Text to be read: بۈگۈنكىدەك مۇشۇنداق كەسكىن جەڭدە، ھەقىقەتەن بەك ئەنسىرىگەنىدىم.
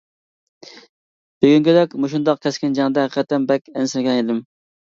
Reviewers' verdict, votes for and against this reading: accepted, 2, 1